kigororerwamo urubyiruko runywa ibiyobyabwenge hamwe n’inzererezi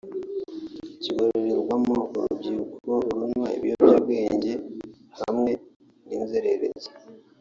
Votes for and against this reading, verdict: 0, 2, rejected